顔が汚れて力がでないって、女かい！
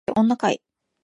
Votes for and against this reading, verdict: 1, 2, rejected